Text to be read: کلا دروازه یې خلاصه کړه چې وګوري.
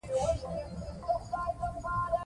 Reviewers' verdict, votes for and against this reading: accepted, 2, 1